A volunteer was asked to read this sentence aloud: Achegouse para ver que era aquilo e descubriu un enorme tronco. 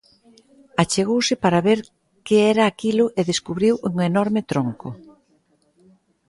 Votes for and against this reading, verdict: 2, 0, accepted